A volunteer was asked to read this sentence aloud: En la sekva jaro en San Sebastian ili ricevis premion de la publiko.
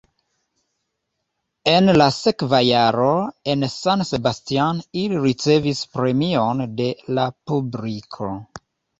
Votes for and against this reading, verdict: 2, 0, accepted